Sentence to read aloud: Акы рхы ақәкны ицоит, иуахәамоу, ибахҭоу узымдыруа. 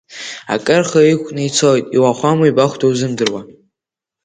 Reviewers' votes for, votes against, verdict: 1, 2, rejected